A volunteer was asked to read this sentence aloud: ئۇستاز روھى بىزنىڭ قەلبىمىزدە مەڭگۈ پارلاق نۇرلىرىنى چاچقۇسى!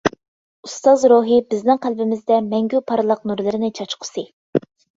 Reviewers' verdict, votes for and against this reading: accepted, 2, 0